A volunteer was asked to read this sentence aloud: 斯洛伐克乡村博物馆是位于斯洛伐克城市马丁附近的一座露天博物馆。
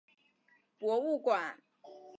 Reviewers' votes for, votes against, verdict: 3, 4, rejected